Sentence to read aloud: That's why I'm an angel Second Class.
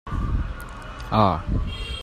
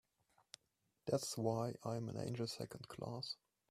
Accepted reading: second